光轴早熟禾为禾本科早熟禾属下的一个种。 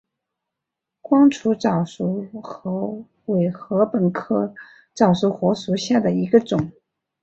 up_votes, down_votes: 3, 0